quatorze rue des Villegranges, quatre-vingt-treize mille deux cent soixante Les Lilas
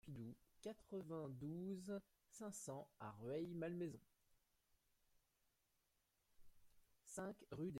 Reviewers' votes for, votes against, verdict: 0, 2, rejected